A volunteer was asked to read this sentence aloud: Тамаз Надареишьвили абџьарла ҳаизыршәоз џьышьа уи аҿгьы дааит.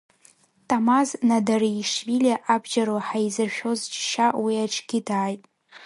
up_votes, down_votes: 2, 0